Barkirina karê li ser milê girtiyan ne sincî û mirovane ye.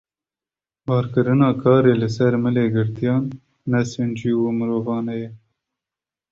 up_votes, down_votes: 2, 0